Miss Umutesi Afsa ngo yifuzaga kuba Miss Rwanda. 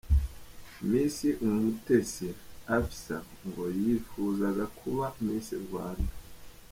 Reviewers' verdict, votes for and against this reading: accepted, 3, 0